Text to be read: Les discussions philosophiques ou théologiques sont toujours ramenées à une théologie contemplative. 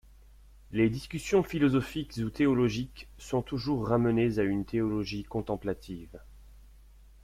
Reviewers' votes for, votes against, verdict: 2, 1, accepted